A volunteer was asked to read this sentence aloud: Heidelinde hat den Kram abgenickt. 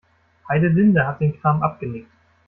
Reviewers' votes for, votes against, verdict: 2, 1, accepted